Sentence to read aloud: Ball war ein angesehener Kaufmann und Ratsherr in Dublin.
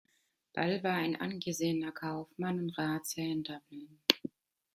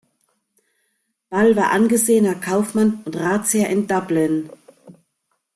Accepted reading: first